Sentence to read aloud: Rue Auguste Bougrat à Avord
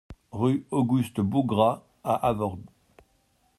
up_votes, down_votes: 0, 2